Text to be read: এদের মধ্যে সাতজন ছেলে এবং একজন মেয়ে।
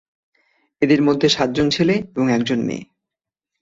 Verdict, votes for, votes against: accepted, 7, 1